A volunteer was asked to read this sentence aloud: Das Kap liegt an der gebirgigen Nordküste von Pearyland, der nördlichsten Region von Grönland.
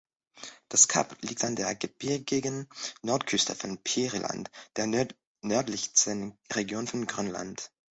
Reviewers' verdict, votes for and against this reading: rejected, 1, 2